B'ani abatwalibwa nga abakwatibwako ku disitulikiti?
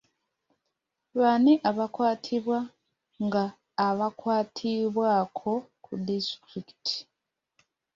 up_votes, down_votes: 1, 2